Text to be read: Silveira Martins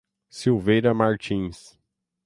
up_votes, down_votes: 3, 3